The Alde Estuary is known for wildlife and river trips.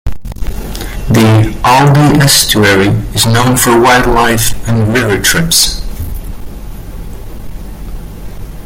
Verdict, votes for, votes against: rejected, 0, 2